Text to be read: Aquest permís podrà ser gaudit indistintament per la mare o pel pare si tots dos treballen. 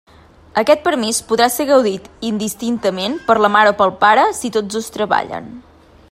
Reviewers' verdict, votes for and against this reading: accepted, 2, 0